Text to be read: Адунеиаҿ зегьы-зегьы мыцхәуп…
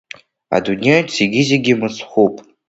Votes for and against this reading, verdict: 2, 0, accepted